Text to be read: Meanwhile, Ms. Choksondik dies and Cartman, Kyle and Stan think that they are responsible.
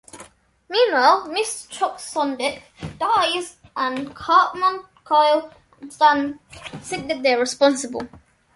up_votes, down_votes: 2, 0